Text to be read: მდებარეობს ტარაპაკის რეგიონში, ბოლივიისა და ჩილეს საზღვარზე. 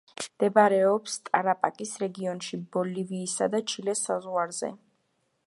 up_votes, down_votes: 2, 0